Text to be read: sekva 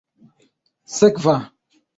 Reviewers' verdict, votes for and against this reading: accepted, 2, 0